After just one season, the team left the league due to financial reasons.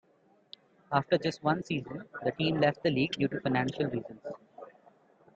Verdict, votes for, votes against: accepted, 3, 0